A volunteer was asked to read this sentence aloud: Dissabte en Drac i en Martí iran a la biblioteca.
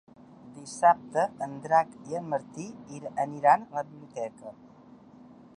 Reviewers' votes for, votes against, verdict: 0, 2, rejected